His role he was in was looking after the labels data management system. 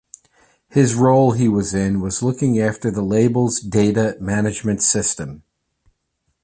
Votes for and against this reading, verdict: 2, 0, accepted